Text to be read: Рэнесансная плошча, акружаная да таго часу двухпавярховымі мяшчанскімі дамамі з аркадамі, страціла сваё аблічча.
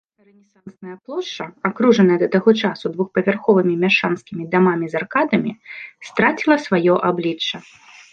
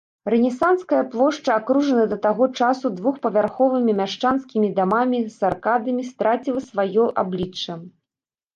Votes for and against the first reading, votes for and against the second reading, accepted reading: 3, 2, 0, 2, first